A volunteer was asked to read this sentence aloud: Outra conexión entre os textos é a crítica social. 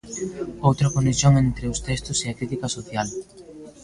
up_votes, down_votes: 2, 0